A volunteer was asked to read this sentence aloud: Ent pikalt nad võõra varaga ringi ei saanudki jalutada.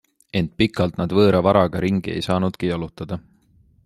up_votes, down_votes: 2, 0